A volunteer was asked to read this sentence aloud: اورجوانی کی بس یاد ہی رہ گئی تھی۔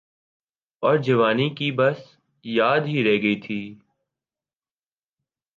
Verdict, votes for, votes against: accepted, 2, 0